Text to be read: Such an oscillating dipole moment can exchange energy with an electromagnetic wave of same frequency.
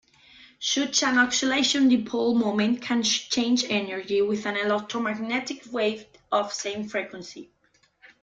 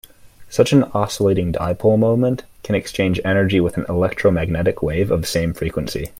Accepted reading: second